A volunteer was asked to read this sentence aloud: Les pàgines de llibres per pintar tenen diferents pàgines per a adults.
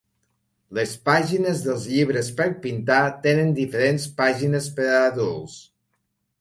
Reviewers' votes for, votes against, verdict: 1, 3, rejected